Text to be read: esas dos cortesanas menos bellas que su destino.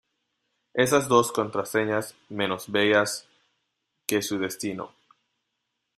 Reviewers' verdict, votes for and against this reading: rejected, 0, 2